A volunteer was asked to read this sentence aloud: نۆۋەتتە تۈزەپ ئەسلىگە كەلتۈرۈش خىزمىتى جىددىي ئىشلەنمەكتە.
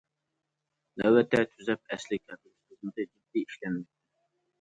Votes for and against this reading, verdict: 1, 2, rejected